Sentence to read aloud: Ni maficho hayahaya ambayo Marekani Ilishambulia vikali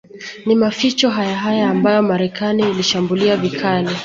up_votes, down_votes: 1, 2